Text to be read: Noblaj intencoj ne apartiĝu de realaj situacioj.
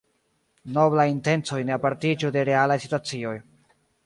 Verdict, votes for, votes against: accepted, 2, 1